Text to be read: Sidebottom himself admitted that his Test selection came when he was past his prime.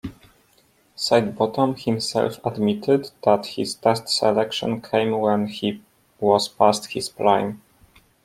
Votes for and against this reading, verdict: 2, 0, accepted